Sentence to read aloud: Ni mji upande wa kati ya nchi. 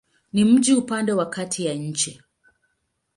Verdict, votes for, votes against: accepted, 2, 0